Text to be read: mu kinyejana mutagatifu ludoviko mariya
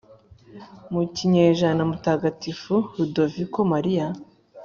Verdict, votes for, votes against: accepted, 3, 0